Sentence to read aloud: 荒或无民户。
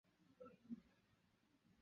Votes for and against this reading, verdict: 0, 2, rejected